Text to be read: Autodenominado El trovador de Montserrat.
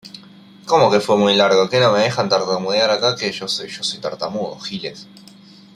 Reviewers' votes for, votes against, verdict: 0, 2, rejected